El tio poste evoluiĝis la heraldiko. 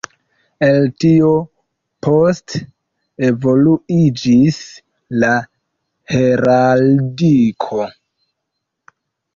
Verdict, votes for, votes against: accepted, 2, 0